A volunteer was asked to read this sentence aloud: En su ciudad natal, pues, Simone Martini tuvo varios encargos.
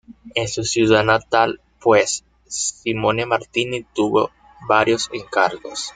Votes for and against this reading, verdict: 1, 2, rejected